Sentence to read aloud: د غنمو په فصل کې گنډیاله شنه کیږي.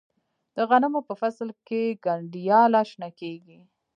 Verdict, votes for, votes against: rejected, 0, 2